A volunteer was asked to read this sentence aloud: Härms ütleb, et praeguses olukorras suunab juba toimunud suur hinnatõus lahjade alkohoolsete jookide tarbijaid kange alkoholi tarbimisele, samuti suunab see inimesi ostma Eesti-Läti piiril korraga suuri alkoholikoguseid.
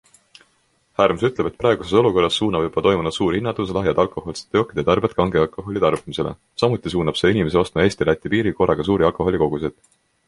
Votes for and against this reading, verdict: 2, 1, accepted